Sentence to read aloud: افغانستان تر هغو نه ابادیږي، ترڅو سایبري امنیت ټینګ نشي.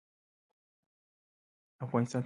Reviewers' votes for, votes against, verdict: 2, 1, accepted